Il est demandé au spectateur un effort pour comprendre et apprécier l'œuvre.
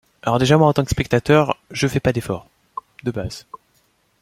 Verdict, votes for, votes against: rejected, 0, 2